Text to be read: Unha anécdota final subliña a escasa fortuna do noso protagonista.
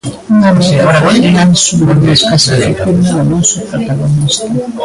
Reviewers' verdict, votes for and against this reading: rejected, 0, 2